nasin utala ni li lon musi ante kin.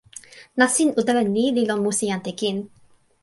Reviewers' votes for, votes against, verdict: 2, 0, accepted